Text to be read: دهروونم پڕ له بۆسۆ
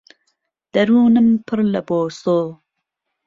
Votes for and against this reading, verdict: 2, 0, accepted